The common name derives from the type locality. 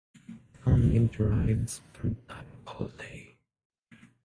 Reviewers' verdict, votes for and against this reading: rejected, 0, 6